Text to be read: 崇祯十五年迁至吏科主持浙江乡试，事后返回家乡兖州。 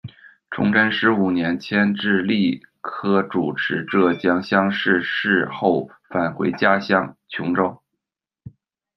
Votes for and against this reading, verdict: 0, 2, rejected